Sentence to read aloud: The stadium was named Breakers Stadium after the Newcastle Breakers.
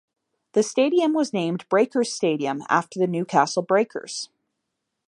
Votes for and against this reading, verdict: 1, 2, rejected